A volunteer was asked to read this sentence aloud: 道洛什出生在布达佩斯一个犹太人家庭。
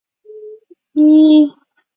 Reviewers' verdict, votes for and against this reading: rejected, 1, 2